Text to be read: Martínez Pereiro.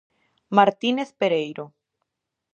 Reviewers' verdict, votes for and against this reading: accepted, 2, 0